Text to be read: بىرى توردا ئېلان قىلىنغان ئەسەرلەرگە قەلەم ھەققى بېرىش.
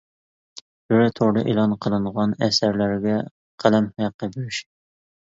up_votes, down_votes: 1, 2